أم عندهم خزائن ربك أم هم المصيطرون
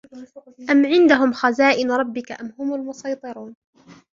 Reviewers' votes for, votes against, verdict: 3, 1, accepted